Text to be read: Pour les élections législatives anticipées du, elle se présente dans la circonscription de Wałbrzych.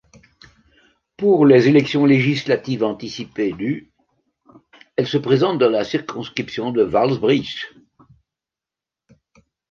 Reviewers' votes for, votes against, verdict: 1, 2, rejected